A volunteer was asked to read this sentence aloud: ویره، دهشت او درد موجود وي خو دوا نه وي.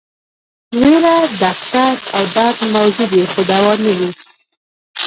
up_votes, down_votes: 0, 2